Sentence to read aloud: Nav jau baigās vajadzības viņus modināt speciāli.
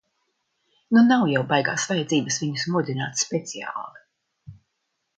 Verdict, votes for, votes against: rejected, 0, 2